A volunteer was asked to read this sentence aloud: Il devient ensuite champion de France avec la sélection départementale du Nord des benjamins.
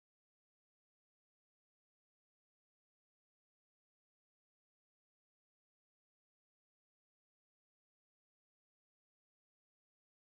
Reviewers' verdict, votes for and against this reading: rejected, 0, 2